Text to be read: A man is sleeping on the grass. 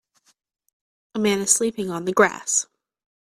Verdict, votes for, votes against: accepted, 2, 0